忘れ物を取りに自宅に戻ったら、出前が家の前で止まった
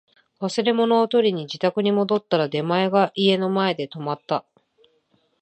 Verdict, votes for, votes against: accepted, 3, 1